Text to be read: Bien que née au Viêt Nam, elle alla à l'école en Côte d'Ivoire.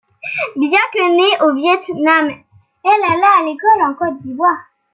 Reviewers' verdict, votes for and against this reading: accepted, 2, 0